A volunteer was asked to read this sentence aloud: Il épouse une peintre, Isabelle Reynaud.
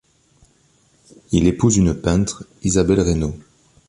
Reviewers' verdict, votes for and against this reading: accepted, 2, 0